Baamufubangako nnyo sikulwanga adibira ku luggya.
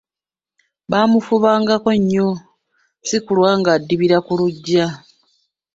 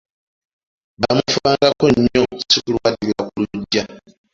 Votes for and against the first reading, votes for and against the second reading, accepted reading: 2, 0, 1, 2, first